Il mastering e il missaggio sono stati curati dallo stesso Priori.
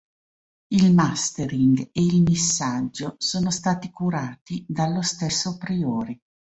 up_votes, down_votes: 2, 0